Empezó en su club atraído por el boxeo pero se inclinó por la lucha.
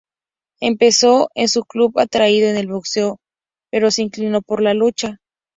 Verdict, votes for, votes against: accepted, 2, 0